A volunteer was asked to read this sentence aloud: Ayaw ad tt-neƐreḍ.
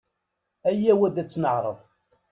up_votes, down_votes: 1, 2